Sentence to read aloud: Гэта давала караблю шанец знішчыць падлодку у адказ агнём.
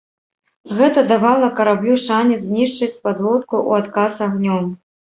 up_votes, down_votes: 2, 0